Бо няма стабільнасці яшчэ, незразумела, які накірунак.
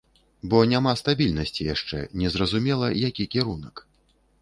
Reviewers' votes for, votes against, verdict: 1, 2, rejected